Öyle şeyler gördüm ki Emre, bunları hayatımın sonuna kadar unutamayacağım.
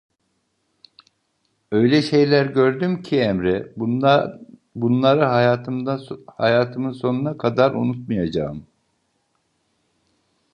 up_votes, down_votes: 0, 3